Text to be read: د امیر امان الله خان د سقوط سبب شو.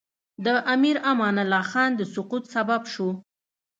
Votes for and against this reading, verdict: 2, 0, accepted